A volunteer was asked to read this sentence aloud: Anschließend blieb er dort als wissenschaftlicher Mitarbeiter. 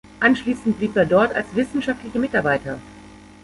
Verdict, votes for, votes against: rejected, 1, 2